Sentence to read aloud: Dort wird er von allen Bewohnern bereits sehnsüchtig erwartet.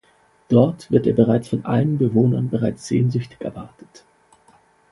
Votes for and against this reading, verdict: 0, 2, rejected